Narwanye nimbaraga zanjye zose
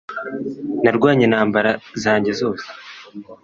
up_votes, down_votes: 1, 2